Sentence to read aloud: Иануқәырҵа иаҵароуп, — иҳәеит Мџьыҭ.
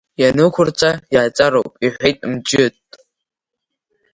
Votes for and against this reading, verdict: 1, 2, rejected